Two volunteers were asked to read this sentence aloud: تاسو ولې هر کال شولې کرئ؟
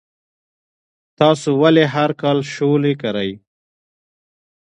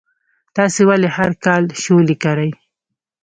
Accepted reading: first